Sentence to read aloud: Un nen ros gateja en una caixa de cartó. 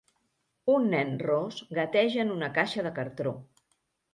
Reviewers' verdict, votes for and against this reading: rejected, 1, 2